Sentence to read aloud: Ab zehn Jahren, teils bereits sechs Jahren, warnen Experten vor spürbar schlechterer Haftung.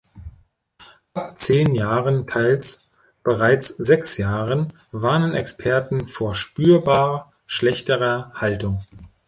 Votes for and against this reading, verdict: 0, 2, rejected